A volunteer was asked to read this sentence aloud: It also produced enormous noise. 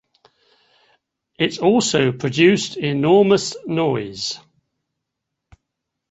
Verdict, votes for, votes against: rejected, 1, 2